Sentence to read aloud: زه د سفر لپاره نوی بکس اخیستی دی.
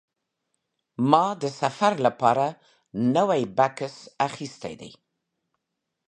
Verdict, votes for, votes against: rejected, 1, 2